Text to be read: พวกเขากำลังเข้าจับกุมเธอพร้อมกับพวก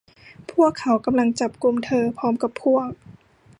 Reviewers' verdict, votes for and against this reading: rejected, 1, 2